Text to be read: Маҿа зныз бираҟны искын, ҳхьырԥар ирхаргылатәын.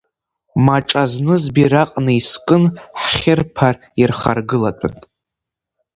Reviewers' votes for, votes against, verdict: 2, 0, accepted